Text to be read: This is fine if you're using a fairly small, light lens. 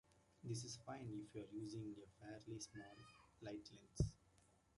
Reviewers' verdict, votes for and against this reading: accepted, 2, 1